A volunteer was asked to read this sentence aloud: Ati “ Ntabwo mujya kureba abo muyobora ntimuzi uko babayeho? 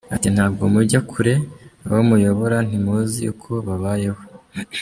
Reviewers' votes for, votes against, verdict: 0, 2, rejected